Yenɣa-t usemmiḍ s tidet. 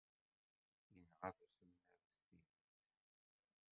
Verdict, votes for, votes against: rejected, 0, 2